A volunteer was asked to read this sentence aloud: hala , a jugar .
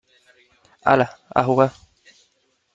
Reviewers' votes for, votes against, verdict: 3, 0, accepted